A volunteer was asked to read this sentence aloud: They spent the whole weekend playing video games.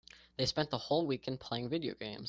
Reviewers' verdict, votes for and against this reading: accepted, 2, 0